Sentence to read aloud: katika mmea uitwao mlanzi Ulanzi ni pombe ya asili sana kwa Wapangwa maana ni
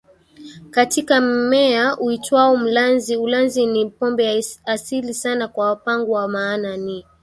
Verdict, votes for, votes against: accepted, 2, 1